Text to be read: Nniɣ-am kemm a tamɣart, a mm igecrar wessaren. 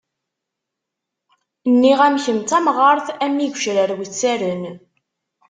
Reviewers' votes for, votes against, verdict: 1, 2, rejected